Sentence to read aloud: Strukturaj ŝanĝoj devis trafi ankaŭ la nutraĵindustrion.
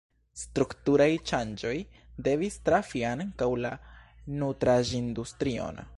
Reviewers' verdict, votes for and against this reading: rejected, 1, 2